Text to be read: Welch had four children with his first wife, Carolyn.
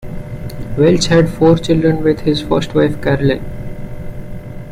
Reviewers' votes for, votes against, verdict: 2, 0, accepted